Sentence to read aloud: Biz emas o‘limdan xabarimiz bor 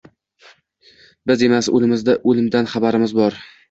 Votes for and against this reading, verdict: 0, 2, rejected